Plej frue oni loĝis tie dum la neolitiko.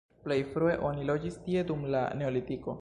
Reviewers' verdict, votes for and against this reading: rejected, 0, 2